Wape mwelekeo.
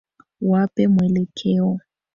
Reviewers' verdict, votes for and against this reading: rejected, 0, 2